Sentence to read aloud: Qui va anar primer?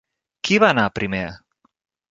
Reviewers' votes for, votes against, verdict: 3, 0, accepted